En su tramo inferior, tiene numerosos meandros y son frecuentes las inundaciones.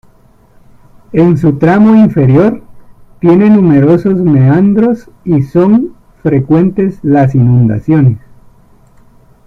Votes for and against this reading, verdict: 2, 1, accepted